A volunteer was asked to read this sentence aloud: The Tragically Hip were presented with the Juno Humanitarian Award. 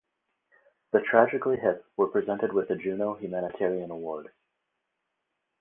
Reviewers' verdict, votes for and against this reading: accepted, 4, 0